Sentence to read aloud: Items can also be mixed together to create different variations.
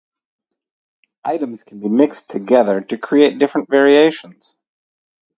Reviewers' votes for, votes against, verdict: 2, 4, rejected